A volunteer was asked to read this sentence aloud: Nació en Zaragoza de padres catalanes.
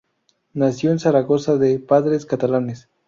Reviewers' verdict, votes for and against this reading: rejected, 0, 2